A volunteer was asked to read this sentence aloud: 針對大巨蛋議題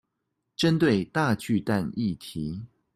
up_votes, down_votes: 2, 0